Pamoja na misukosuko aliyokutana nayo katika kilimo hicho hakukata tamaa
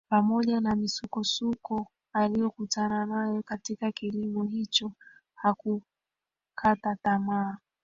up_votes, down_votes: 1, 2